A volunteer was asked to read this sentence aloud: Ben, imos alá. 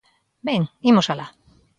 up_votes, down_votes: 2, 0